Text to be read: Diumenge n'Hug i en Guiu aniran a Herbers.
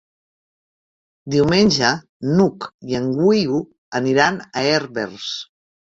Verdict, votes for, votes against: rejected, 0, 2